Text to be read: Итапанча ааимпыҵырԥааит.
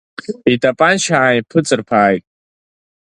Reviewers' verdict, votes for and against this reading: accepted, 2, 0